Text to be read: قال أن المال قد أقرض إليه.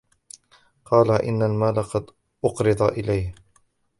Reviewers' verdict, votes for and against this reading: rejected, 0, 2